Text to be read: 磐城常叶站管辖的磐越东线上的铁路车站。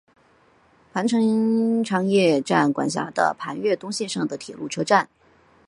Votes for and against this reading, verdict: 1, 2, rejected